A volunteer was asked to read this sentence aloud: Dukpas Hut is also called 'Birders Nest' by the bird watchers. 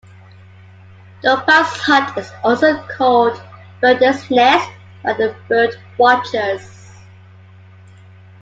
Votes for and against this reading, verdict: 0, 2, rejected